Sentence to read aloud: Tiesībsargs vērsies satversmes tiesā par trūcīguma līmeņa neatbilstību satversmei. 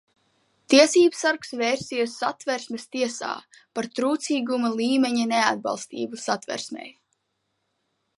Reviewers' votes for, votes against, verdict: 2, 0, accepted